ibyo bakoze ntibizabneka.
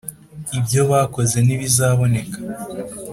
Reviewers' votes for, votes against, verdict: 2, 0, accepted